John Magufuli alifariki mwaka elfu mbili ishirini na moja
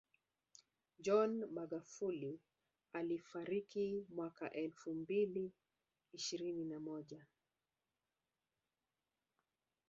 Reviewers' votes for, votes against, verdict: 2, 0, accepted